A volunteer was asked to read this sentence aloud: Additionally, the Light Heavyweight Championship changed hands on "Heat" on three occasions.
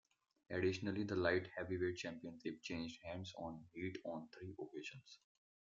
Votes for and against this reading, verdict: 2, 1, accepted